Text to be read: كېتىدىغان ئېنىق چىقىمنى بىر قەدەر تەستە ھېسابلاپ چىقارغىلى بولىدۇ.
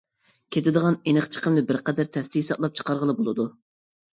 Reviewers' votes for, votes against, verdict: 2, 0, accepted